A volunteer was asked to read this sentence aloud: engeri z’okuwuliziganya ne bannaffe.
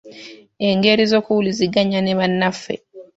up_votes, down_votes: 2, 0